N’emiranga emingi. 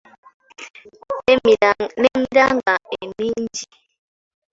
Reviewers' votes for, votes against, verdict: 2, 1, accepted